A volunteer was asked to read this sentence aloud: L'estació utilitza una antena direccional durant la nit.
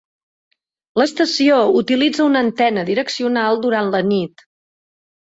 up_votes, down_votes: 2, 0